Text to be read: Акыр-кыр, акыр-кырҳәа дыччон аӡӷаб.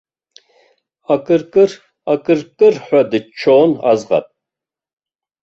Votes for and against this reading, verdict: 0, 2, rejected